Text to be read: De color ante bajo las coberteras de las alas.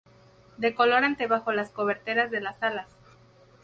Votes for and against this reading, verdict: 4, 0, accepted